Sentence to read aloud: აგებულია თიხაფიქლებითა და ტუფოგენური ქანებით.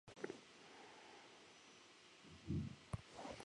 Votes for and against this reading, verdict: 0, 2, rejected